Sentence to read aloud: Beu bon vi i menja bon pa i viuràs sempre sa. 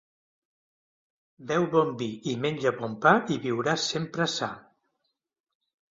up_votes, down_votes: 2, 0